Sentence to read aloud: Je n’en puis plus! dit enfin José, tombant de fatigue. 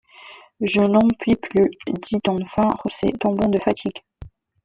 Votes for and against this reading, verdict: 1, 2, rejected